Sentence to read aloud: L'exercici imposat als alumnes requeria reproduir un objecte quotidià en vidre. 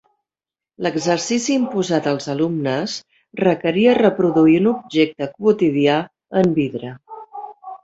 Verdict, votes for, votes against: rejected, 0, 2